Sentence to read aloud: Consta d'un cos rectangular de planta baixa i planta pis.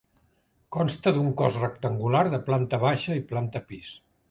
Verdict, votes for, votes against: accepted, 2, 0